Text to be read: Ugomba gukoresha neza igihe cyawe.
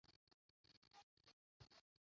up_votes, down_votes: 0, 2